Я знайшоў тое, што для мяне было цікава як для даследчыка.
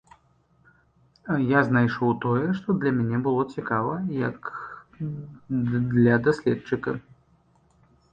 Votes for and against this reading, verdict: 1, 2, rejected